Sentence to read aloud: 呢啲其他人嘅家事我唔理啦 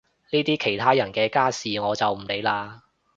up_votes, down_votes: 0, 2